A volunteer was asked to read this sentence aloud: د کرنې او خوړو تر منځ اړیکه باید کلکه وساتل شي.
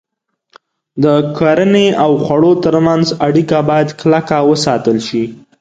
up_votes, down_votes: 2, 0